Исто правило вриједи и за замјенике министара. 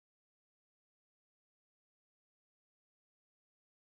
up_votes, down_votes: 0, 2